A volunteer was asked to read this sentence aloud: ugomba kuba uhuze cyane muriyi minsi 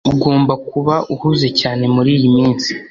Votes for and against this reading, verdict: 3, 0, accepted